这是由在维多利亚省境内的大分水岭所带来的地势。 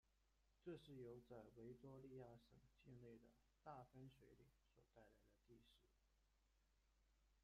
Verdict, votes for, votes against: rejected, 0, 2